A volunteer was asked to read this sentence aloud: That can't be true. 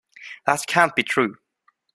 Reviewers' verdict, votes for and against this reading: rejected, 2, 3